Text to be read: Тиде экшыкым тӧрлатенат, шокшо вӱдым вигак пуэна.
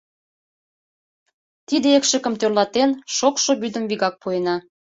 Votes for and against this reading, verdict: 1, 2, rejected